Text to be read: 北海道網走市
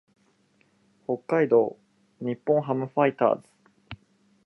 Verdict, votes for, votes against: rejected, 2, 2